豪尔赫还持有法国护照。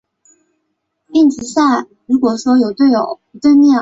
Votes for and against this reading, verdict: 0, 4, rejected